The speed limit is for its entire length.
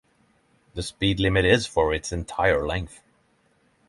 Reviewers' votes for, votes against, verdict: 6, 0, accepted